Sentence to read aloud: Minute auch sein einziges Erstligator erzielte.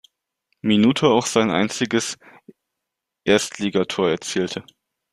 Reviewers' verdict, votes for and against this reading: accepted, 2, 0